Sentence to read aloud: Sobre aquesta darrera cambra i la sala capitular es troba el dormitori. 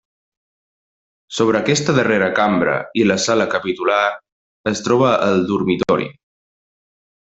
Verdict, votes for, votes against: accepted, 4, 0